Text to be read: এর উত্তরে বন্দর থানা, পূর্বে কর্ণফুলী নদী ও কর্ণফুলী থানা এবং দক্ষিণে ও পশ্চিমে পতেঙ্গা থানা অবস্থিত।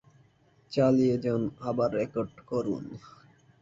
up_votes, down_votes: 0, 2